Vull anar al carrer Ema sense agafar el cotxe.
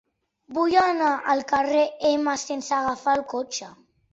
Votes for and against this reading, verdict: 2, 1, accepted